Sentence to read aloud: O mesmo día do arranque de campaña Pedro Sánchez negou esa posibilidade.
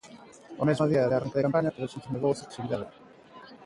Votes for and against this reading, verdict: 0, 2, rejected